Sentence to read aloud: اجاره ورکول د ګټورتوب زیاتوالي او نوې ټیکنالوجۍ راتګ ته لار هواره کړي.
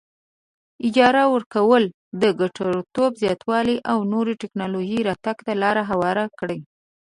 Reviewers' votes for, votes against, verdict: 2, 0, accepted